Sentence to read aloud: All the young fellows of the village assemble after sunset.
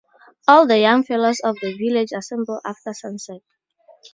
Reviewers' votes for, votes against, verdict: 4, 0, accepted